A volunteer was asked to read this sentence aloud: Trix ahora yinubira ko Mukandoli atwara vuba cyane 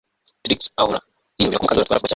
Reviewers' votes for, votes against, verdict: 0, 2, rejected